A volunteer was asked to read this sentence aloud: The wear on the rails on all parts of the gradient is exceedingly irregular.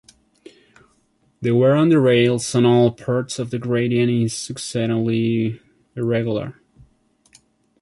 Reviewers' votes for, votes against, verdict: 0, 2, rejected